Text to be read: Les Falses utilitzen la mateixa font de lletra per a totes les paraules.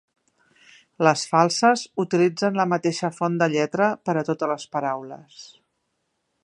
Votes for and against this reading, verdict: 3, 0, accepted